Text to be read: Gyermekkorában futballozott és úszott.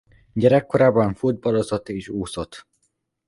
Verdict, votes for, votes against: rejected, 1, 2